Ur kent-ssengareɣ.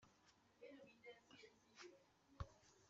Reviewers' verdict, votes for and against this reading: rejected, 1, 2